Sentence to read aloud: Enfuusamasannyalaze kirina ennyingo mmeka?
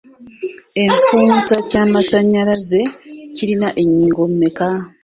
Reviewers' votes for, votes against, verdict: 1, 2, rejected